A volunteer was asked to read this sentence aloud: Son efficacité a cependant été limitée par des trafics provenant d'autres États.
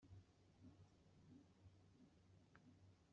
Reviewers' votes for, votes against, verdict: 0, 2, rejected